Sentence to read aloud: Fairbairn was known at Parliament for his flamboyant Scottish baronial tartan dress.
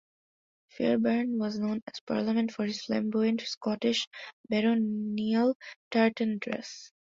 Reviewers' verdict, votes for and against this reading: accepted, 2, 0